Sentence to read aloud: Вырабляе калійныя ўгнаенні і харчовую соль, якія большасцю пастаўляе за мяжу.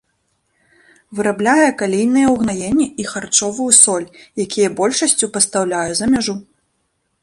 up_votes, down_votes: 0, 2